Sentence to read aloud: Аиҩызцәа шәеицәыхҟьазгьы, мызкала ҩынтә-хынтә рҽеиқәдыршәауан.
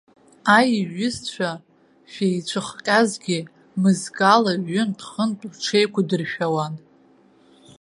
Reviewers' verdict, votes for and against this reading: rejected, 0, 2